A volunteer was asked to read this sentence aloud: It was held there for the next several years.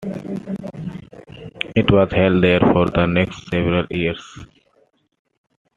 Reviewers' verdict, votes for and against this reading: accepted, 2, 0